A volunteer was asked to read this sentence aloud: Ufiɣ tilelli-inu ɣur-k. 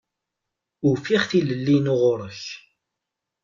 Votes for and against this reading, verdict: 2, 0, accepted